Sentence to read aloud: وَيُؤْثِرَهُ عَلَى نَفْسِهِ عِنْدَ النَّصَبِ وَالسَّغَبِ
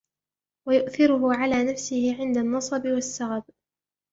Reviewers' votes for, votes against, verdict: 2, 0, accepted